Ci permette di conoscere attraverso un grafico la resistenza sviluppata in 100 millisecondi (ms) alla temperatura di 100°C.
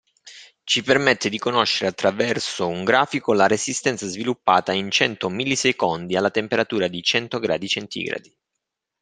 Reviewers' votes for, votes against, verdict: 0, 2, rejected